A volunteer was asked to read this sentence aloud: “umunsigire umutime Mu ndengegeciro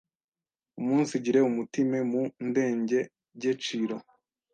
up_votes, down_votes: 1, 2